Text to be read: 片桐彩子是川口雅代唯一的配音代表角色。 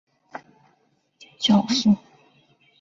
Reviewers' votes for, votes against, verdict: 1, 3, rejected